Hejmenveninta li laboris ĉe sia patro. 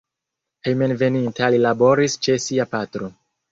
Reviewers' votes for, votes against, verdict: 1, 2, rejected